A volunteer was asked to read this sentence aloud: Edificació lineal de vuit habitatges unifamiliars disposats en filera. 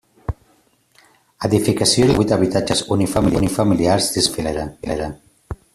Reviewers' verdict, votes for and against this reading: rejected, 0, 2